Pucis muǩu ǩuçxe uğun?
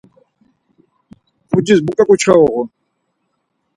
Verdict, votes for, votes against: accepted, 4, 0